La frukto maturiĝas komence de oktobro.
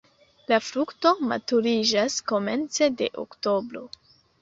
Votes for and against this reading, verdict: 2, 0, accepted